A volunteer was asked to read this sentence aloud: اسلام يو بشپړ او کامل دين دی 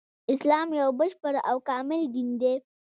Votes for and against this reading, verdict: 1, 2, rejected